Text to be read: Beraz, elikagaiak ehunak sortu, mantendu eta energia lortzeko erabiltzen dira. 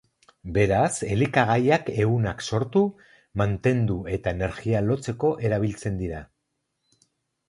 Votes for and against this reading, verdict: 0, 2, rejected